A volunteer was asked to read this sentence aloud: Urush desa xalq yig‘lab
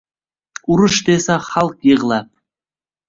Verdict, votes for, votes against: accepted, 2, 0